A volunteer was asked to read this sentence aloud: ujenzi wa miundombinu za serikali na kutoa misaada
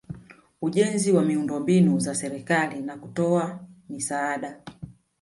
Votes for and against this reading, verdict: 2, 0, accepted